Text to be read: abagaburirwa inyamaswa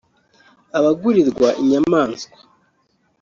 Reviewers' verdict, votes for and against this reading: rejected, 0, 2